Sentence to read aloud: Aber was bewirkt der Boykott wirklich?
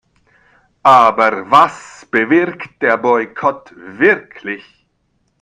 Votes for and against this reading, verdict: 0, 2, rejected